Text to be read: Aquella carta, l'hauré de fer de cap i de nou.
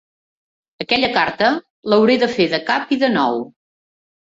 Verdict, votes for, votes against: accepted, 3, 0